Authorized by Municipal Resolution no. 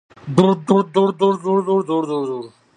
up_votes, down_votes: 0, 2